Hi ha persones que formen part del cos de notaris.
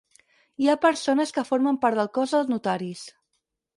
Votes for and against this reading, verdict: 2, 4, rejected